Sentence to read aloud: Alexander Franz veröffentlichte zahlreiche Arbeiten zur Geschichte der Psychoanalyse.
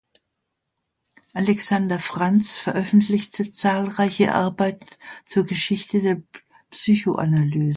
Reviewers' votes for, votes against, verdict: 0, 2, rejected